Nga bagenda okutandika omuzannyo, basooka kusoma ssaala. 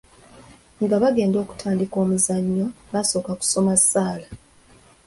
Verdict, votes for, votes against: accepted, 2, 0